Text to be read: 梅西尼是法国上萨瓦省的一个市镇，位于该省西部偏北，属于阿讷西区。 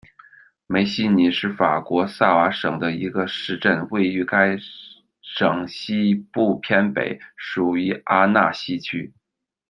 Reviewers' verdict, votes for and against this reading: rejected, 0, 2